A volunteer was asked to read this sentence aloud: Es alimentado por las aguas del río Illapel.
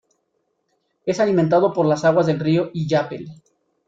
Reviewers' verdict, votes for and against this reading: accepted, 2, 0